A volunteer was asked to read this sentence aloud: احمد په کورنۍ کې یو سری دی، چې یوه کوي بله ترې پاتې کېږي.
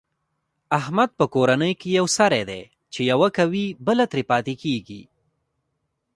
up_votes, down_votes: 0, 2